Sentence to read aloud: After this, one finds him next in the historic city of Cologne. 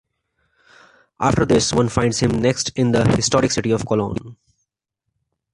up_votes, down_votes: 2, 0